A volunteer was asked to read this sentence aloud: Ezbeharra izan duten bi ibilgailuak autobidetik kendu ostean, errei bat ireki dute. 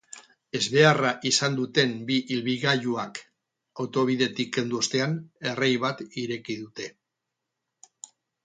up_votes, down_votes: 2, 2